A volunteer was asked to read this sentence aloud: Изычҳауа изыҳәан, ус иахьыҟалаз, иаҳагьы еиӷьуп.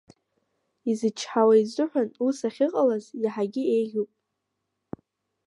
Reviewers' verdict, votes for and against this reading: rejected, 1, 2